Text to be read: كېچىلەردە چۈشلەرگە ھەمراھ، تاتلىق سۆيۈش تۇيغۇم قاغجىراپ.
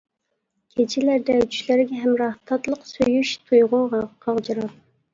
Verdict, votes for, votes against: rejected, 0, 2